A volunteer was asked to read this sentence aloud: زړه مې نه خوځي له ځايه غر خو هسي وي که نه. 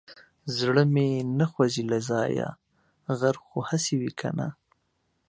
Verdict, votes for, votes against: accepted, 2, 0